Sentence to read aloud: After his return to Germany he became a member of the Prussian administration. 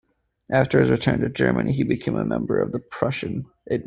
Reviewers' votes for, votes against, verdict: 0, 2, rejected